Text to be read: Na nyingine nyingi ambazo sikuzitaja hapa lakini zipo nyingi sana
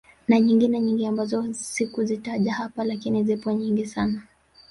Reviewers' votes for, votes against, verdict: 0, 2, rejected